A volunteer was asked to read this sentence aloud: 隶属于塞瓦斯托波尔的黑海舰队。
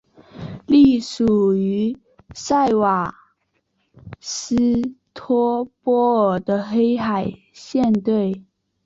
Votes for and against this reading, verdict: 2, 0, accepted